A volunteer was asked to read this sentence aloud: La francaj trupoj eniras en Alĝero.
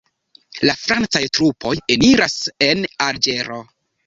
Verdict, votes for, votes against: accepted, 2, 0